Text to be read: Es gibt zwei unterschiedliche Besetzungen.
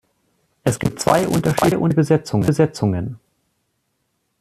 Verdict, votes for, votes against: rejected, 0, 2